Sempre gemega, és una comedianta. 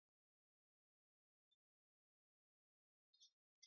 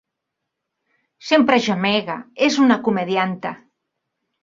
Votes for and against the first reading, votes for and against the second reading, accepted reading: 1, 2, 5, 0, second